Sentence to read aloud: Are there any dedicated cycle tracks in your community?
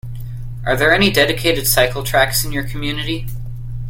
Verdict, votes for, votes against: accepted, 2, 0